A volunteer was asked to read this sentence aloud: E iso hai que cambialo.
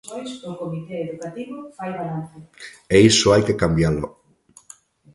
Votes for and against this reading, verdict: 1, 2, rejected